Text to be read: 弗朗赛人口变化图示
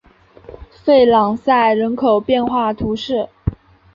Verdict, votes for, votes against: accepted, 5, 1